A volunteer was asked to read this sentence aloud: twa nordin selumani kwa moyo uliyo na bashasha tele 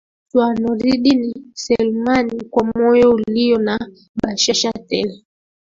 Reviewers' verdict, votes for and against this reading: accepted, 4, 2